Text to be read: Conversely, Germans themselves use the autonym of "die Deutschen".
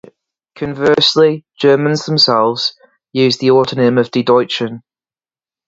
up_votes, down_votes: 2, 2